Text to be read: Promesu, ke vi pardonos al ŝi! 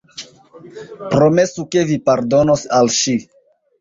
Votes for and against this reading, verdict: 0, 2, rejected